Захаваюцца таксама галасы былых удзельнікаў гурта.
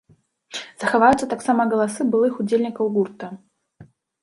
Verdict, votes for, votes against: rejected, 0, 2